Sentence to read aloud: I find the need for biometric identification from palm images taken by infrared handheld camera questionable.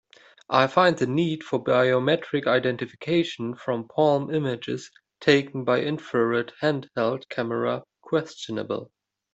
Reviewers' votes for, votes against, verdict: 3, 0, accepted